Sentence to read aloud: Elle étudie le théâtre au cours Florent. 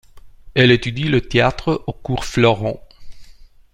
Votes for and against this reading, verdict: 2, 0, accepted